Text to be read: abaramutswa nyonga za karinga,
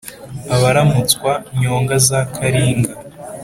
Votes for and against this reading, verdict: 3, 0, accepted